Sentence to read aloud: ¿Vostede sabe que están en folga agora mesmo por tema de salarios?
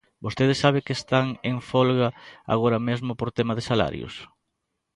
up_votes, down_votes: 2, 0